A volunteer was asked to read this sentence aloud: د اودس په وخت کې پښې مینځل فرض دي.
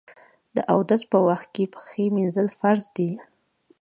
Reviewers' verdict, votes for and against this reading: rejected, 1, 2